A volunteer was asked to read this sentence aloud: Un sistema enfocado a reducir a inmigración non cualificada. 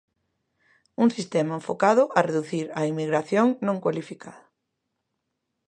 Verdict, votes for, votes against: accepted, 2, 0